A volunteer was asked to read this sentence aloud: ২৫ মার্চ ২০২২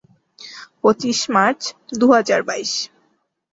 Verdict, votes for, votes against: rejected, 0, 2